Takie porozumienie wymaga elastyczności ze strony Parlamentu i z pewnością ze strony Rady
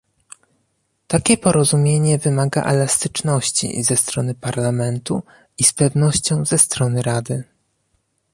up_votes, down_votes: 1, 2